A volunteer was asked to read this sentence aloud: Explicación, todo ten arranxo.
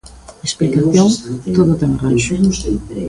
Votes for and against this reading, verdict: 0, 2, rejected